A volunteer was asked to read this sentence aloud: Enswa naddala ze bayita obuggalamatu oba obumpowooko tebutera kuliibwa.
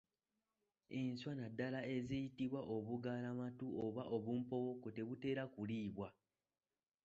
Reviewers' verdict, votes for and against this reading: rejected, 0, 3